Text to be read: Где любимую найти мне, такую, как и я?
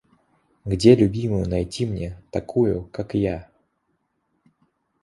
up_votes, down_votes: 1, 2